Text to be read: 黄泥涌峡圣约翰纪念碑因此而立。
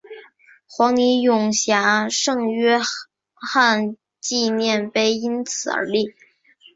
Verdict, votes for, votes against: accepted, 2, 0